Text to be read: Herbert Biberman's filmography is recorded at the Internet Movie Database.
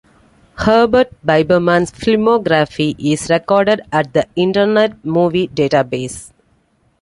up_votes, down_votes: 2, 1